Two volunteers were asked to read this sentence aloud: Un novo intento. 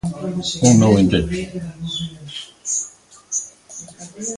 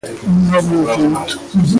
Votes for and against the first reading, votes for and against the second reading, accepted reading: 2, 1, 0, 2, first